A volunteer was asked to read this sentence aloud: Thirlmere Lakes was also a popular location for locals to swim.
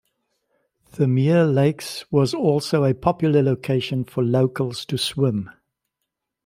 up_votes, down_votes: 2, 0